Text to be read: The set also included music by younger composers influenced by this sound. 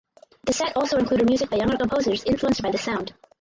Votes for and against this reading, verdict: 0, 4, rejected